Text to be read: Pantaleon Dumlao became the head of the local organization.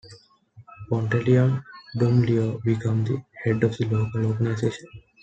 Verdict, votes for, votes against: accepted, 2, 0